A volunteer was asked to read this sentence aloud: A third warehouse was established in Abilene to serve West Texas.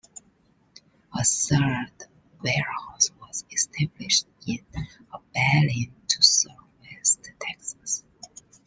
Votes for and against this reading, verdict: 2, 1, accepted